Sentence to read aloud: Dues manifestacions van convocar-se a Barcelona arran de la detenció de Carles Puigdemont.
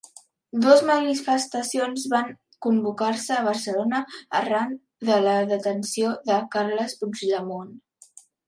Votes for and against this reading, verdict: 1, 2, rejected